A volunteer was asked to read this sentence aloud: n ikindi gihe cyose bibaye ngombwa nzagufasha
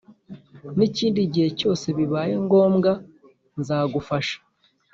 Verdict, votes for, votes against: accepted, 2, 0